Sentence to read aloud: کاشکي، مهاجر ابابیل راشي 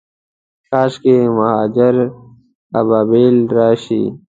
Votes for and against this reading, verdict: 2, 0, accepted